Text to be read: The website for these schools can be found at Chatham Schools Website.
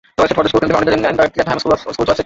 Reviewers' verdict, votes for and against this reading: rejected, 0, 2